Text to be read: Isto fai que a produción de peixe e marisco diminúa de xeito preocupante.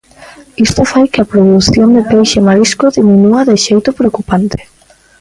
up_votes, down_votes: 2, 0